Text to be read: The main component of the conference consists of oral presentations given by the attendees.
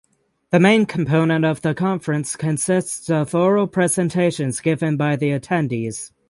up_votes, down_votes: 6, 0